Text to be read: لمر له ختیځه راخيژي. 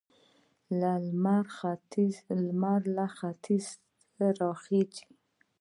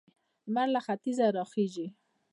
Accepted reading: second